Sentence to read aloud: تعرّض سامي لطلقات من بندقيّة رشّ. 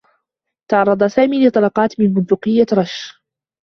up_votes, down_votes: 2, 0